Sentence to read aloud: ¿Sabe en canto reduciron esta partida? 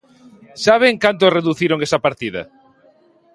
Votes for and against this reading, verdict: 1, 2, rejected